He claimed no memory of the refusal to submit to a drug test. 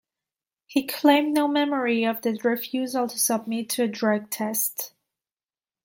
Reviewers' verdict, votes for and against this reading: accepted, 2, 0